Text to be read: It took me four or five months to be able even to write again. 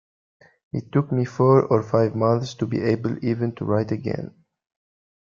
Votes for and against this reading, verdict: 2, 0, accepted